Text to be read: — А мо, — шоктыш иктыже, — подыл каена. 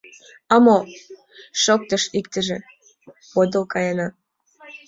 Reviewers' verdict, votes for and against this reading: accepted, 2, 0